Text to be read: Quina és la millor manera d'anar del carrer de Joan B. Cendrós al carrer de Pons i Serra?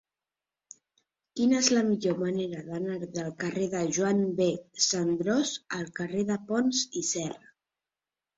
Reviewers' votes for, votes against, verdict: 1, 2, rejected